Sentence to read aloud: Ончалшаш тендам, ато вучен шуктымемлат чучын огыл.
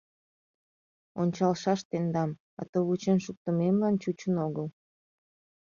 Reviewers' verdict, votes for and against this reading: rejected, 0, 2